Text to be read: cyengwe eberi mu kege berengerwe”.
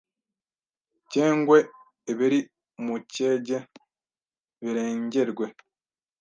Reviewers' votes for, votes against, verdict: 1, 2, rejected